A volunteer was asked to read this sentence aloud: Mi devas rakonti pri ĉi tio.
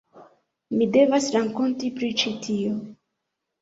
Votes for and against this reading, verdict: 0, 2, rejected